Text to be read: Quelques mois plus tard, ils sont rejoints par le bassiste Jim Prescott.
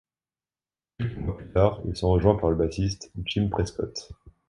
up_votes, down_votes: 0, 2